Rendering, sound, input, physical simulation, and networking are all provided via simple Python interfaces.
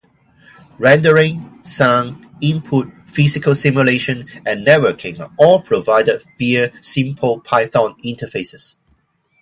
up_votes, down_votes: 4, 0